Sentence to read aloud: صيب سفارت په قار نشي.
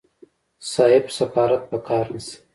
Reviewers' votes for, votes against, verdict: 2, 0, accepted